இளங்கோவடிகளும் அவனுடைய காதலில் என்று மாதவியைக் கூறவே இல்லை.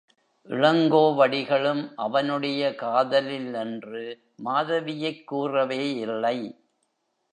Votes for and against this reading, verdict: 1, 2, rejected